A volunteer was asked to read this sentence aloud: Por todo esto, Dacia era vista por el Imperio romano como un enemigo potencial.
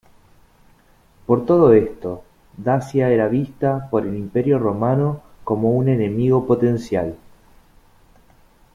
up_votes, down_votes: 2, 0